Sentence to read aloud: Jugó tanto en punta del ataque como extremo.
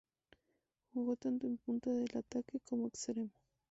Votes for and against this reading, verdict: 0, 2, rejected